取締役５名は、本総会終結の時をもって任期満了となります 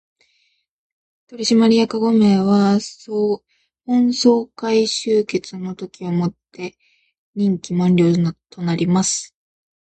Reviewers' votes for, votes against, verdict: 0, 2, rejected